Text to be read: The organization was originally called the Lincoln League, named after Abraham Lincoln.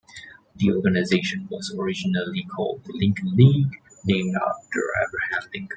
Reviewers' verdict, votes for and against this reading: accepted, 2, 0